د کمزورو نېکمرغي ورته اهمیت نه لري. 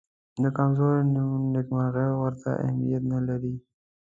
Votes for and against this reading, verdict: 2, 0, accepted